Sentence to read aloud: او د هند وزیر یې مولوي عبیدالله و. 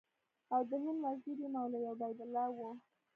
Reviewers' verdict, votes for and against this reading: rejected, 1, 2